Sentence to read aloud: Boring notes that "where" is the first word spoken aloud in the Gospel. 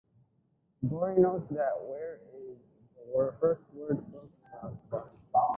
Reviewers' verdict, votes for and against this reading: rejected, 1, 2